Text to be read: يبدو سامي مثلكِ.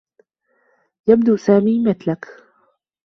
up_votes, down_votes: 2, 0